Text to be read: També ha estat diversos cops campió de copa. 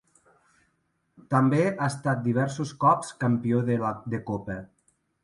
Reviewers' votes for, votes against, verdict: 0, 2, rejected